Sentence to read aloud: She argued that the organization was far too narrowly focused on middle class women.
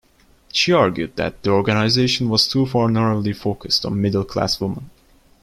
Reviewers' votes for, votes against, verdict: 1, 2, rejected